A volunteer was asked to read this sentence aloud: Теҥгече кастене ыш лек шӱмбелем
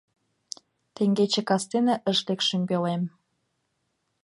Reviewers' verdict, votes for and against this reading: accepted, 2, 0